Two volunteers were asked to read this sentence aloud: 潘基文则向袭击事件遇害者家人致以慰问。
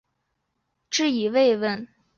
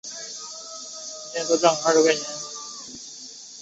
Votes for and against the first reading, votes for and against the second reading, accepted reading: 4, 1, 0, 2, first